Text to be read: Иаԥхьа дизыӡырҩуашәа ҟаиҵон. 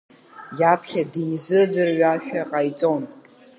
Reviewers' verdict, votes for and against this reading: rejected, 1, 2